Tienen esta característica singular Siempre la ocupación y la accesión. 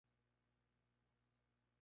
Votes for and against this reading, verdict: 0, 2, rejected